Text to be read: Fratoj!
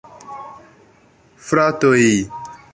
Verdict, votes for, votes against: rejected, 1, 2